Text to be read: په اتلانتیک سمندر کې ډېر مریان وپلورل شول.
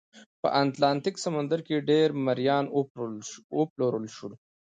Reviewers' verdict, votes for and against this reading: accepted, 2, 0